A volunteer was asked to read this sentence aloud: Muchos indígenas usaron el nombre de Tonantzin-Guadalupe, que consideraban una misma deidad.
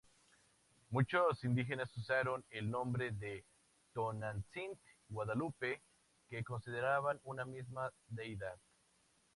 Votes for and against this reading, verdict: 0, 4, rejected